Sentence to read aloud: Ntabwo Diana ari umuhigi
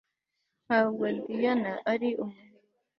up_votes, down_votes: 2, 0